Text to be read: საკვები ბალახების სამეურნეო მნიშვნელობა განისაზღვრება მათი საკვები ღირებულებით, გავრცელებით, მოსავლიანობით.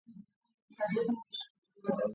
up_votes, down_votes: 0, 2